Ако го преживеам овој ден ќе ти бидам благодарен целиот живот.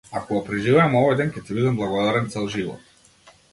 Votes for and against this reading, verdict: 0, 2, rejected